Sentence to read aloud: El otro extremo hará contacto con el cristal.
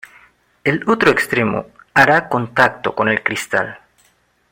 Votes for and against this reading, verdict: 2, 0, accepted